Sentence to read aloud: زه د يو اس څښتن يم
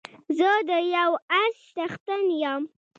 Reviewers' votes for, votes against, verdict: 2, 1, accepted